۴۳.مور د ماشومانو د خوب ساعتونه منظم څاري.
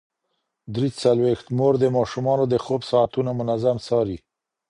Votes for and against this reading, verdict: 0, 2, rejected